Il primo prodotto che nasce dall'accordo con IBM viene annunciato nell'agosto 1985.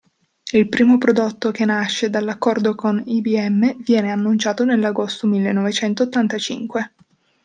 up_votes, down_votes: 0, 2